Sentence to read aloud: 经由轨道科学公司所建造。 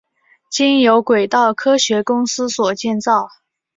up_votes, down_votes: 7, 0